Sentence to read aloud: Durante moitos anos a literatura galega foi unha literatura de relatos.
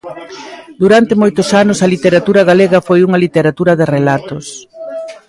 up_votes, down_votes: 0, 2